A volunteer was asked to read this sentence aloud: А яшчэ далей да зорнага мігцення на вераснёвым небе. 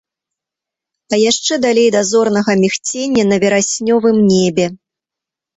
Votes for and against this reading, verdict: 2, 0, accepted